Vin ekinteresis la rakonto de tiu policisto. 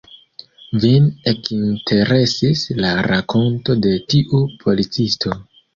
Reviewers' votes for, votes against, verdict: 2, 0, accepted